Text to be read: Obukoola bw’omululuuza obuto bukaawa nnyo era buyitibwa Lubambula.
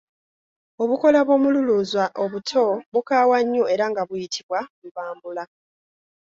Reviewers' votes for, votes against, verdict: 0, 2, rejected